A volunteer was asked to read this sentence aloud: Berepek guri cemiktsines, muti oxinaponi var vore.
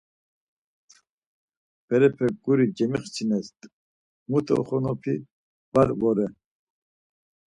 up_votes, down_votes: 0, 4